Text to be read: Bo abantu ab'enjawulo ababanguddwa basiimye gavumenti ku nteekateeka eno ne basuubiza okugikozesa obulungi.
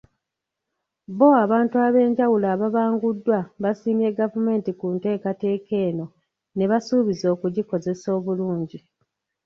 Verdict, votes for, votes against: rejected, 0, 2